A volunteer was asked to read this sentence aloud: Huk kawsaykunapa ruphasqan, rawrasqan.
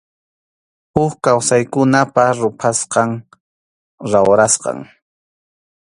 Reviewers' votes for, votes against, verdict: 2, 0, accepted